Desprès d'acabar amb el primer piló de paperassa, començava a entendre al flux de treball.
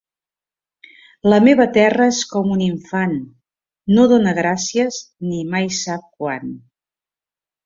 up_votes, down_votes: 0, 3